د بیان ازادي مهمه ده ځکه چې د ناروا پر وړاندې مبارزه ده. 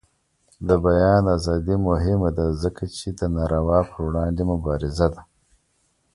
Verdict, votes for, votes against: accepted, 2, 0